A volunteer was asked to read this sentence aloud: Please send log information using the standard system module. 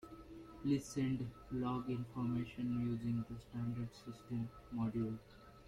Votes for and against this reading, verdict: 0, 2, rejected